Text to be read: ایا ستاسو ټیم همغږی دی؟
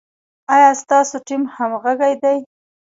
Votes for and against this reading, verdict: 2, 1, accepted